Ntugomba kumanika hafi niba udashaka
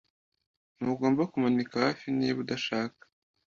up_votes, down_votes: 2, 0